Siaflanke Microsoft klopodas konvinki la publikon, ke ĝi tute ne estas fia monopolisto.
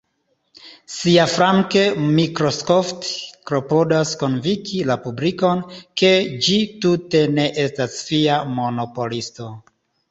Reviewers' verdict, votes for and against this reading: accepted, 3, 2